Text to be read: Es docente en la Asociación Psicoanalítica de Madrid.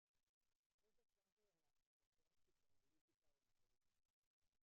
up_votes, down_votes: 0, 2